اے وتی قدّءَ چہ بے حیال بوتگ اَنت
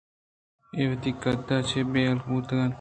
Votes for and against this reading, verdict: 2, 0, accepted